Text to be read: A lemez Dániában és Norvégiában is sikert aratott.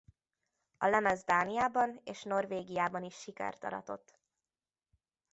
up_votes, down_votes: 2, 0